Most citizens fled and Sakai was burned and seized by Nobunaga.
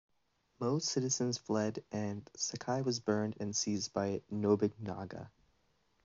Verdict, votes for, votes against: accepted, 2, 0